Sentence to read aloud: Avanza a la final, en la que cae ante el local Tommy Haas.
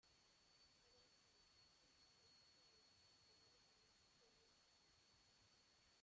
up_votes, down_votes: 0, 2